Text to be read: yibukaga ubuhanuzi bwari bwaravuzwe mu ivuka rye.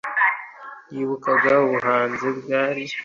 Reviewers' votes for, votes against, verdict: 1, 2, rejected